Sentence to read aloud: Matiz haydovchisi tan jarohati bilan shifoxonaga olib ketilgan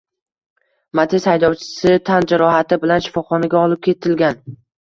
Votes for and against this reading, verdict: 2, 1, accepted